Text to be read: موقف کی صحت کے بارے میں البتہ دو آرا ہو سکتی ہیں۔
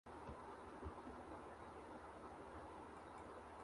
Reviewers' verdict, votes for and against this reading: rejected, 0, 2